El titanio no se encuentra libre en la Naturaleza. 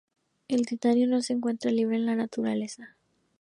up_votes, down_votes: 2, 0